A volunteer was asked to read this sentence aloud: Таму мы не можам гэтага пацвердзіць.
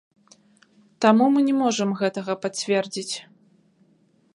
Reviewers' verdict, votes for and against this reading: rejected, 0, 3